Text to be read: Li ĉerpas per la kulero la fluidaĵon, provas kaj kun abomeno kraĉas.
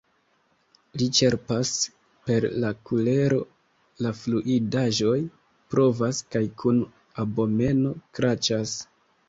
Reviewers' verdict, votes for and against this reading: rejected, 0, 2